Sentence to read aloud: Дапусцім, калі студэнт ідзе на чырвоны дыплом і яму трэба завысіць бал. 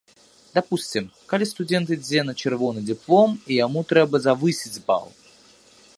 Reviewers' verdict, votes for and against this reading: rejected, 1, 2